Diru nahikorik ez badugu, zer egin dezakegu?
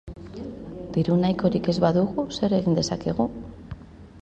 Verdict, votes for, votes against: accepted, 3, 1